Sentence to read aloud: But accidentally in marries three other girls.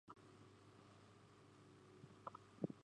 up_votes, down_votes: 0, 2